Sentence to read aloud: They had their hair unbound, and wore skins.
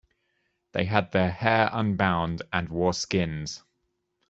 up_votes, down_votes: 2, 0